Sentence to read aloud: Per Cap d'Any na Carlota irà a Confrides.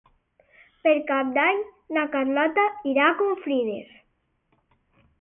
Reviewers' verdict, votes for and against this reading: accepted, 8, 0